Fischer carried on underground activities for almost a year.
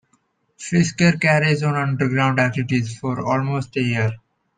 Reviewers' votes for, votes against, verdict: 1, 2, rejected